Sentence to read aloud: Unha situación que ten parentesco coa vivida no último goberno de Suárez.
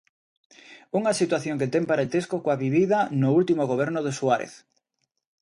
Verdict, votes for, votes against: accepted, 2, 0